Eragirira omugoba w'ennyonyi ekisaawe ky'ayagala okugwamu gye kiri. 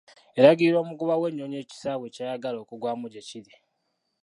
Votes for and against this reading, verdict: 0, 2, rejected